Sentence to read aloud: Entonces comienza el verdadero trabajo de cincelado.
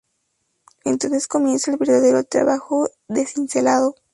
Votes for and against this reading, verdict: 2, 2, rejected